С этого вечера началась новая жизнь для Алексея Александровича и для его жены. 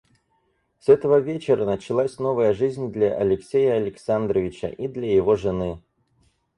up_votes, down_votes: 4, 0